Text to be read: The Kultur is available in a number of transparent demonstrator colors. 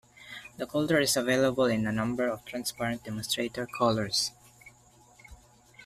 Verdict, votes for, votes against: accepted, 2, 0